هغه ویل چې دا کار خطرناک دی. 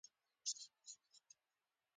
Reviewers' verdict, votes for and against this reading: rejected, 0, 3